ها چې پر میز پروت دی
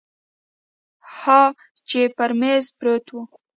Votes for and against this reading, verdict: 2, 0, accepted